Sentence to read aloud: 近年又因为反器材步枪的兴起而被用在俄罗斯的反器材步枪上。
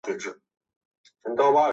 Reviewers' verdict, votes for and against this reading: rejected, 0, 3